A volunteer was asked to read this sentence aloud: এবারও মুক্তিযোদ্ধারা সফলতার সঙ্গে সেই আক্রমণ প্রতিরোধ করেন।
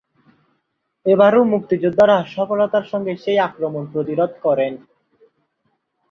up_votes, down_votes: 2, 2